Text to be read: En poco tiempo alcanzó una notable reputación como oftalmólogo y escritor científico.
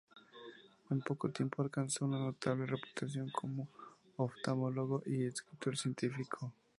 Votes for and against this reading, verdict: 2, 0, accepted